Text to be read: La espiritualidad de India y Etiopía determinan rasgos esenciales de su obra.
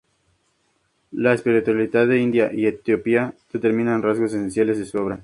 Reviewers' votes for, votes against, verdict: 2, 0, accepted